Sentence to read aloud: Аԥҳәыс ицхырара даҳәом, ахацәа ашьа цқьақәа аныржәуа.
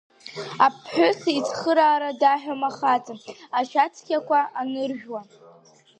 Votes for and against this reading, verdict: 0, 2, rejected